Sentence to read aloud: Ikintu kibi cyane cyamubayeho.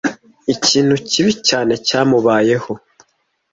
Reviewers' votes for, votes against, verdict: 2, 0, accepted